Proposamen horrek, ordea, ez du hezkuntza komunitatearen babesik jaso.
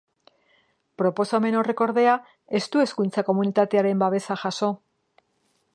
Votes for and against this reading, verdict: 1, 2, rejected